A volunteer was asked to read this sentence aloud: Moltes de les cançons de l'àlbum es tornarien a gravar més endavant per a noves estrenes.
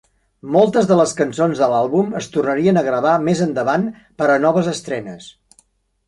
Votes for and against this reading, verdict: 3, 0, accepted